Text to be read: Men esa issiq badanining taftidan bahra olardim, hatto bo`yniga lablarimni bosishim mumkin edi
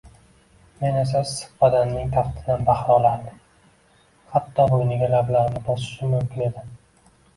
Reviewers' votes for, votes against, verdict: 0, 2, rejected